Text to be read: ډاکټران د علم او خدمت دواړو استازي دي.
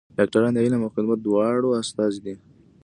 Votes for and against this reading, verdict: 2, 0, accepted